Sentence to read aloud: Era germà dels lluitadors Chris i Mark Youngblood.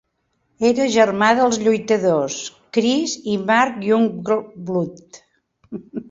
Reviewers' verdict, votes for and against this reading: rejected, 1, 2